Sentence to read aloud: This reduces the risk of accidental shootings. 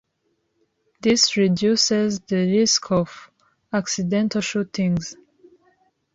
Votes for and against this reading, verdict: 2, 0, accepted